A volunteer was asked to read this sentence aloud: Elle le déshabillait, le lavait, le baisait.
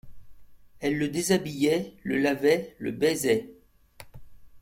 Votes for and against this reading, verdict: 2, 0, accepted